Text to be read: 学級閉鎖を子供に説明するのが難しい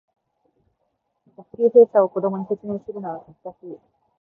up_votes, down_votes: 4, 0